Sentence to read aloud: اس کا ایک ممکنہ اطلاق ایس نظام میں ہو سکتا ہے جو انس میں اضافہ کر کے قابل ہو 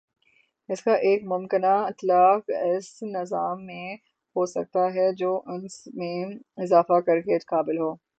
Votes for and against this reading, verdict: 0, 3, rejected